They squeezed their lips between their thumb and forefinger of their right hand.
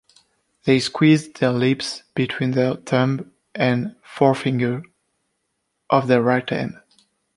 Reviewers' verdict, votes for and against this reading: accepted, 2, 0